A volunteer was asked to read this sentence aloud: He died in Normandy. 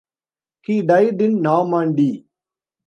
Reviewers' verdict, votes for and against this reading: accepted, 2, 0